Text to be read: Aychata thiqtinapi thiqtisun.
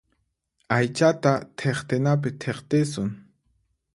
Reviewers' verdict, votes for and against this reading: accepted, 4, 0